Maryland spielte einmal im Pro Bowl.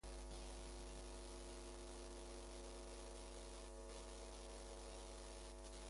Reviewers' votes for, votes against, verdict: 0, 2, rejected